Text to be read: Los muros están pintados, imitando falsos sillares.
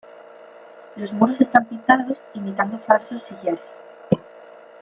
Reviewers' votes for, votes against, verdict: 0, 2, rejected